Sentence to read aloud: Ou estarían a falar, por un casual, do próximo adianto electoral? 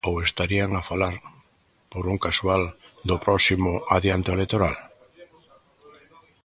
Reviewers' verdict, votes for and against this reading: rejected, 1, 2